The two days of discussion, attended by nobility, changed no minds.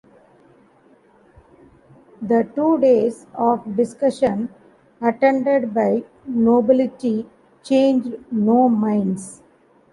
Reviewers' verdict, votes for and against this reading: accepted, 2, 0